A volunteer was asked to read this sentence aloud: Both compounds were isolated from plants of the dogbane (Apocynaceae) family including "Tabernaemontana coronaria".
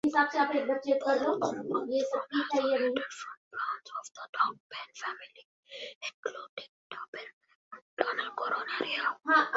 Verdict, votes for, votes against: rejected, 0, 2